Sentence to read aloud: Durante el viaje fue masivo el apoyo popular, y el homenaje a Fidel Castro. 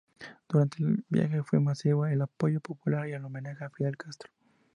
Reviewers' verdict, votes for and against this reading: accepted, 4, 2